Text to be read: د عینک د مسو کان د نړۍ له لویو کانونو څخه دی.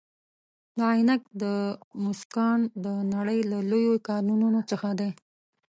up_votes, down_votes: 0, 2